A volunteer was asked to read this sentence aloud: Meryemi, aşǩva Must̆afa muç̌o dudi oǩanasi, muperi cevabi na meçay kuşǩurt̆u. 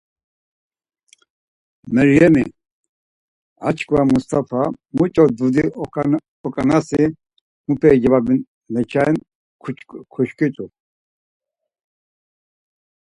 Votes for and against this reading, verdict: 2, 4, rejected